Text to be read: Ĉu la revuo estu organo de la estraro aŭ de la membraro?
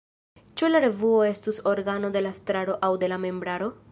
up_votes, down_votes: 0, 2